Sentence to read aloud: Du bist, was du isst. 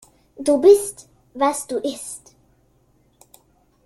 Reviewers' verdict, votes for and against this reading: accepted, 2, 0